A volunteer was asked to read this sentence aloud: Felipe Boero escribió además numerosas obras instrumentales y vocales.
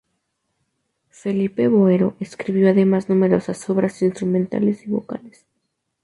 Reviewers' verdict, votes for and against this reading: rejected, 0, 2